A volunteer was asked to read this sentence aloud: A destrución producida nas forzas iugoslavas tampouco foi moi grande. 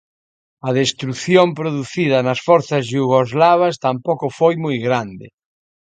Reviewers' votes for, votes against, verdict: 1, 2, rejected